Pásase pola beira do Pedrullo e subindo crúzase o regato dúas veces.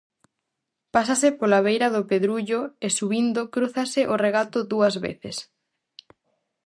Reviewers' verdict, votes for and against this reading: accepted, 4, 0